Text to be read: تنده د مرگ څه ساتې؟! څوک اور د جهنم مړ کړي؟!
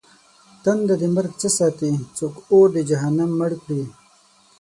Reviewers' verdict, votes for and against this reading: accepted, 12, 0